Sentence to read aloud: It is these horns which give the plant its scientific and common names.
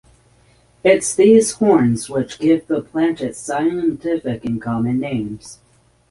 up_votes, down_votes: 3, 0